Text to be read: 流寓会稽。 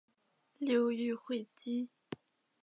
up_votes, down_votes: 3, 2